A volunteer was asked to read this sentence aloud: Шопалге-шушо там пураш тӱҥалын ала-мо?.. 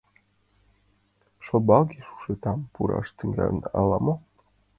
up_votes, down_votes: 0, 2